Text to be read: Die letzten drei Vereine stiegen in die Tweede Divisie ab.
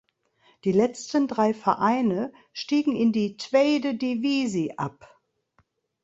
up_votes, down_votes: 1, 2